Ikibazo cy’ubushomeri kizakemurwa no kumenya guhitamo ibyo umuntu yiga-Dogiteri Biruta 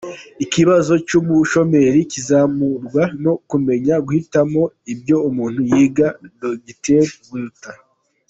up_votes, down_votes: 0, 2